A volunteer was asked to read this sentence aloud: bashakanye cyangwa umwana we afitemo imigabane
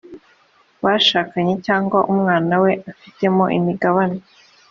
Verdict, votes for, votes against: accepted, 2, 0